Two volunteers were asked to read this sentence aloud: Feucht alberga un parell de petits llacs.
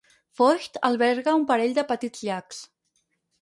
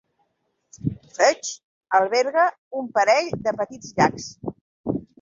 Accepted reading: second